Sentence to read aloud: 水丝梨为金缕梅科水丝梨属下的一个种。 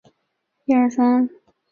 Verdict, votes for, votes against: rejected, 0, 2